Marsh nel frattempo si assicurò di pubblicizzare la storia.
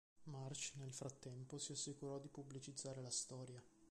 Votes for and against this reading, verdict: 0, 2, rejected